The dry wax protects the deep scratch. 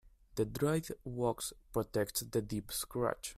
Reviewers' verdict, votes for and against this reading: rejected, 1, 2